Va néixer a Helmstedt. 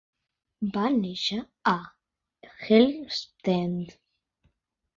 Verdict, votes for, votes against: accepted, 3, 2